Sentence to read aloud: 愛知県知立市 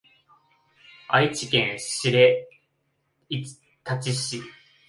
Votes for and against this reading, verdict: 0, 2, rejected